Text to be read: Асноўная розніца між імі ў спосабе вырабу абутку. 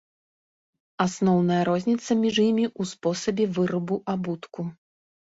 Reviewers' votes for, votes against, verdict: 2, 0, accepted